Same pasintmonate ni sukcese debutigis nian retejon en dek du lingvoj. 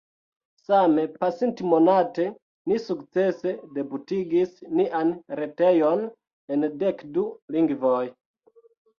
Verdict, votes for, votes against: accepted, 2, 0